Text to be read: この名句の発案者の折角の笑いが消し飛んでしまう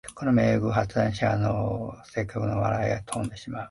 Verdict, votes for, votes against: rejected, 1, 3